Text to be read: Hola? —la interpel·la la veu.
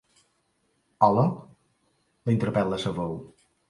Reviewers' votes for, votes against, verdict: 0, 2, rejected